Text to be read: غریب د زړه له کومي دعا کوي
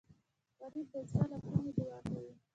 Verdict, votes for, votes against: rejected, 1, 2